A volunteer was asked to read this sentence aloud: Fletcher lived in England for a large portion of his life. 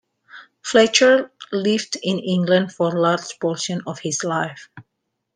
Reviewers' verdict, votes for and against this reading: accepted, 2, 0